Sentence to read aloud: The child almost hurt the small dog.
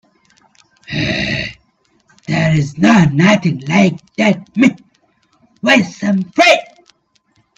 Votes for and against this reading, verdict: 0, 2, rejected